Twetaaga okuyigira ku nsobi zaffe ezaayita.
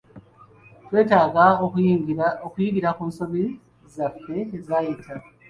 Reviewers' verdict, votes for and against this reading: accepted, 2, 1